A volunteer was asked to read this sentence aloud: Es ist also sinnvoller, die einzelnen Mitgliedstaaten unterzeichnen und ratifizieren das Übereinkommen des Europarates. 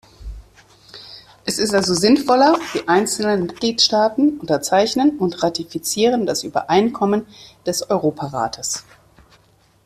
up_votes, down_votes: 2, 0